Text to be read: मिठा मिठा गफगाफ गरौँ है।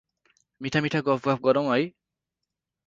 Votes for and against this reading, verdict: 4, 0, accepted